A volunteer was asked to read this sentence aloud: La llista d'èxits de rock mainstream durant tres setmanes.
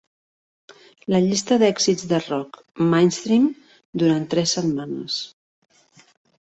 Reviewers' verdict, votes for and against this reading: accepted, 2, 0